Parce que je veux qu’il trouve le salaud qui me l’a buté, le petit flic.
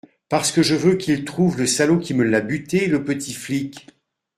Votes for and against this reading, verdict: 2, 0, accepted